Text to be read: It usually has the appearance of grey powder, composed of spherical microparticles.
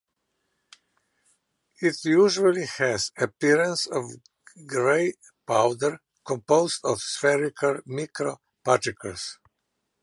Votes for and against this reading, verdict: 2, 0, accepted